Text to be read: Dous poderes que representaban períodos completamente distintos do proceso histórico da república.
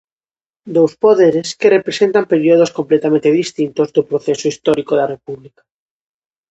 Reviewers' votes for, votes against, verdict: 0, 2, rejected